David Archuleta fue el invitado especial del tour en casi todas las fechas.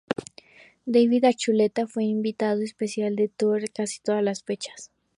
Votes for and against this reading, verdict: 2, 2, rejected